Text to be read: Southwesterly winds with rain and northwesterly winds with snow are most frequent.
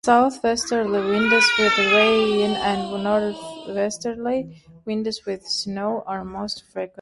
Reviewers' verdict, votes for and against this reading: rejected, 1, 2